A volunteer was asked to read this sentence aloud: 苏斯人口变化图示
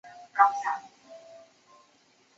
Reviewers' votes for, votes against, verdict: 0, 2, rejected